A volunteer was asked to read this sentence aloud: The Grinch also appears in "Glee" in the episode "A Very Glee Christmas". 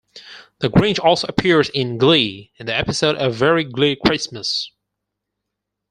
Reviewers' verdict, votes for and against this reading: accepted, 4, 0